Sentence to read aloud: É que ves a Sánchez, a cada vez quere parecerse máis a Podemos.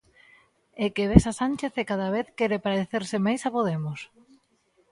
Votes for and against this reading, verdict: 1, 2, rejected